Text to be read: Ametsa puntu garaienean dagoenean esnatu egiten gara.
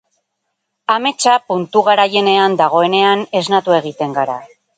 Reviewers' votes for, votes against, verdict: 0, 2, rejected